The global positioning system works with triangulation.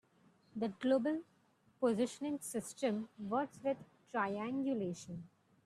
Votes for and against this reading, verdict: 2, 1, accepted